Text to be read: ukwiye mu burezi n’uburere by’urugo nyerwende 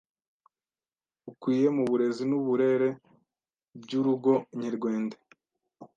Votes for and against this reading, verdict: 1, 2, rejected